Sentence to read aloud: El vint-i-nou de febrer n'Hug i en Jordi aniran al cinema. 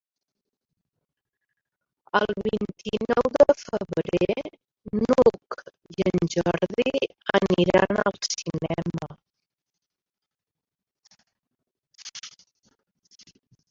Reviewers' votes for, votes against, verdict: 1, 2, rejected